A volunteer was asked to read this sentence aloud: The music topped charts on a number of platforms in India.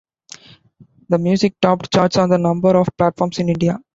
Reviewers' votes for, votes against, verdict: 1, 2, rejected